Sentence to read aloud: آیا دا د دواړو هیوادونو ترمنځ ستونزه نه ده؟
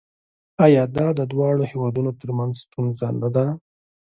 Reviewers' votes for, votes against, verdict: 2, 0, accepted